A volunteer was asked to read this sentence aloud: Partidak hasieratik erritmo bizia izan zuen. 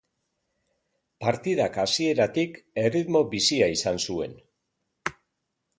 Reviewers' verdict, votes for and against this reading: accepted, 2, 0